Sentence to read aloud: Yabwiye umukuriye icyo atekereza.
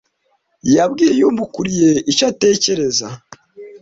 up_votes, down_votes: 2, 0